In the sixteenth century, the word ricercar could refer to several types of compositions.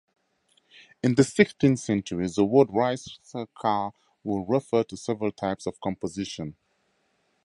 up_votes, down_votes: 0, 2